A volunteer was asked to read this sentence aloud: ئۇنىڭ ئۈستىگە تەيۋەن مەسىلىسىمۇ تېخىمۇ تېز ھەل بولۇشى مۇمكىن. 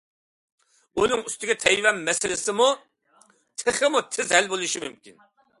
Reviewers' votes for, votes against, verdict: 2, 0, accepted